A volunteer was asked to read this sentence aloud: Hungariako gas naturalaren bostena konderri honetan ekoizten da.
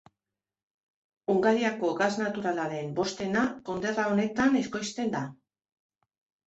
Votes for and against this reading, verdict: 0, 2, rejected